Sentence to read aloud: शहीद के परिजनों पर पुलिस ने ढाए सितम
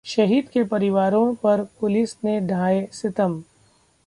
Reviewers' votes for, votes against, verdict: 1, 2, rejected